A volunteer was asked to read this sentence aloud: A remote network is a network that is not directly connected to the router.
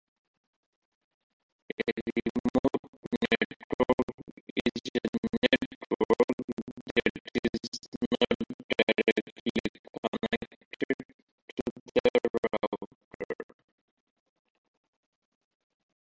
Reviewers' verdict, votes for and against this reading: rejected, 0, 2